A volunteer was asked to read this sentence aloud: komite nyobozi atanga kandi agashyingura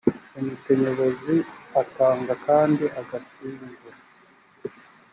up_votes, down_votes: 3, 0